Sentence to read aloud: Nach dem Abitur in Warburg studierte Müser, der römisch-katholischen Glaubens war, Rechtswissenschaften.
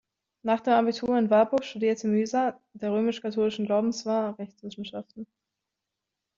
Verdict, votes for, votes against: rejected, 1, 2